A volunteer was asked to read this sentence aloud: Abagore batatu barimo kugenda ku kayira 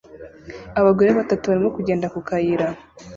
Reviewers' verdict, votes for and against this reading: accepted, 2, 0